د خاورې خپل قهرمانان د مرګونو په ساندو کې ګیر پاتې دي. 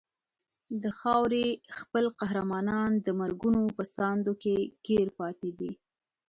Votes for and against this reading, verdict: 2, 0, accepted